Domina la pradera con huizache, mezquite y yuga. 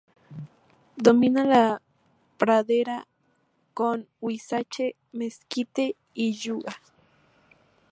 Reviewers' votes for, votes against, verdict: 2, 2, rejected